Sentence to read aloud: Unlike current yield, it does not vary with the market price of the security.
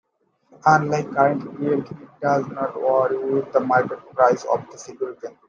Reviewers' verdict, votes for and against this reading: accepted, 2, 1